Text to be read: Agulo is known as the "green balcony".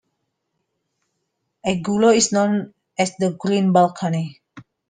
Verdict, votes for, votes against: accepted, 2, 1